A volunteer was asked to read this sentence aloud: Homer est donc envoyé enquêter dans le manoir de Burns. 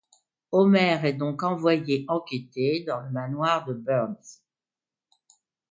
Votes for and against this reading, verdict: 2, 0, accepted